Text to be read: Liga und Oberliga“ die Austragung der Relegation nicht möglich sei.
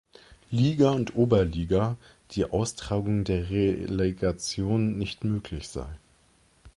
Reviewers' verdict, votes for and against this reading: rejected, 0, 2